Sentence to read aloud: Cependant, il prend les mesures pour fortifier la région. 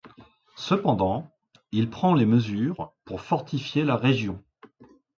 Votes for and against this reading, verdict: 2, 0, accepted